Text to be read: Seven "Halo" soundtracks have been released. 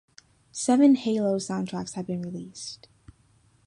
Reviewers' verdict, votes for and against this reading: accepted, 2, 0